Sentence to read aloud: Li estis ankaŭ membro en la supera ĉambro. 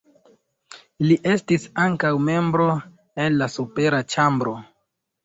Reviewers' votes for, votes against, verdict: 2, 0, accepted